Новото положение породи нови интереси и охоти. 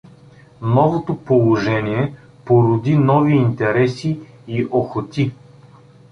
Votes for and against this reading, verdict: 2, 0, accepted